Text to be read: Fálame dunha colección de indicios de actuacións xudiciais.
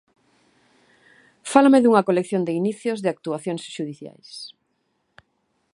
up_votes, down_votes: 0, 2